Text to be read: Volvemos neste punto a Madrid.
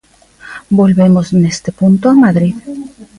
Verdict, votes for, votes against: rejected, 1, 2